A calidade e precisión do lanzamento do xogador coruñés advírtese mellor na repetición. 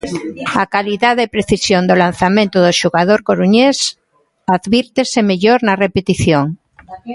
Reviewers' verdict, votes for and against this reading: rejected, 0, 2